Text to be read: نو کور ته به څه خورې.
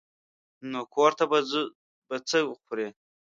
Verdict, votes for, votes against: rejected, 0, 2